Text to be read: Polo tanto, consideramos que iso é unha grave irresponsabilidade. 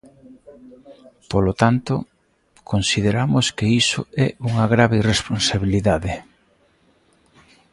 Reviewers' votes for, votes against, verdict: 1, 2, rejected